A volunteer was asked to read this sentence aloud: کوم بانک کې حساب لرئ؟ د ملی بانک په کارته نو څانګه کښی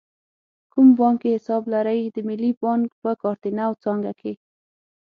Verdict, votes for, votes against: accepted, 9, 6